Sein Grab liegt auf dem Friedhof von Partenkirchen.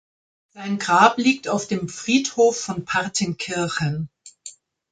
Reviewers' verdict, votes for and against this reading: rejected, 0, 2